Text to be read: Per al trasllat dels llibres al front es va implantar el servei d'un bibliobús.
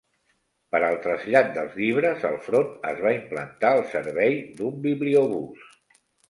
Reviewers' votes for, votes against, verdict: 2, 0, accepted